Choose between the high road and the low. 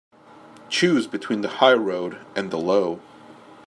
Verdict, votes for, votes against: accepted, 2, 0